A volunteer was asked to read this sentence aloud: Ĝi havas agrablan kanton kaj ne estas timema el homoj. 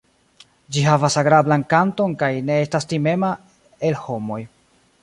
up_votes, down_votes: 2, 0